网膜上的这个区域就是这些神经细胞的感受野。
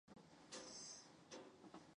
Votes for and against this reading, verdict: 0, 2, rejected